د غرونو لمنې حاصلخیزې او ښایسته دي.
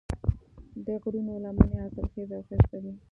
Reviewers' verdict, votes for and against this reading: accepted, 2, 0